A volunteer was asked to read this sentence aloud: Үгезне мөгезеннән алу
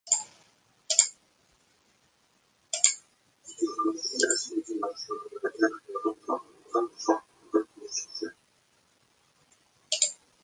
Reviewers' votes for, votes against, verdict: 0, 2, rejected